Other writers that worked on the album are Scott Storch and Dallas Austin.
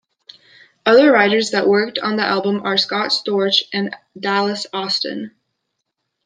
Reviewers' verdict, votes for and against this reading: accepted, 2, 0